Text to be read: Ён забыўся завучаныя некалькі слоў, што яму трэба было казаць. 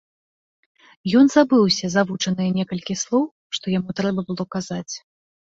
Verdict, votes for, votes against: accepted, 3, 1